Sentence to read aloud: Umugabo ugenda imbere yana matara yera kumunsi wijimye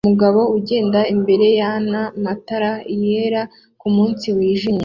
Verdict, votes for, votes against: accepted, 2, 0